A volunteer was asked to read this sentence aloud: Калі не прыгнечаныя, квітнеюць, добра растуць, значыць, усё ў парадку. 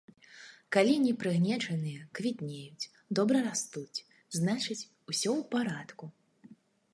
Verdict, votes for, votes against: accepted, 2, 0